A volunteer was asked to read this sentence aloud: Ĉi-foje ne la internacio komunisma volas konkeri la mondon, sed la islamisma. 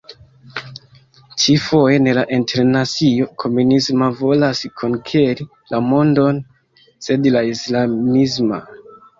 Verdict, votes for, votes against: rejected, 1, 2